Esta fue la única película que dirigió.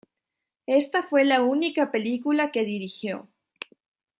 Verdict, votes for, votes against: accepted, 2, 0